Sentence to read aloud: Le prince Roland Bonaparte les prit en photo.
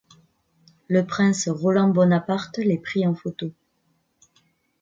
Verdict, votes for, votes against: rejected, 1, 2